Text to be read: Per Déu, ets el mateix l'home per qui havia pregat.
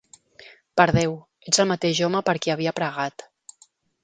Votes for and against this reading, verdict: 0, 2, rejected